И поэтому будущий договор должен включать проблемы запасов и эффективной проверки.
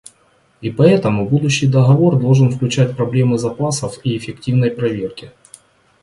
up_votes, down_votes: 2, 0